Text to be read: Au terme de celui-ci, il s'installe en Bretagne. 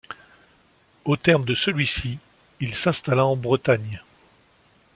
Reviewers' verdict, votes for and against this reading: rejected, 1, 2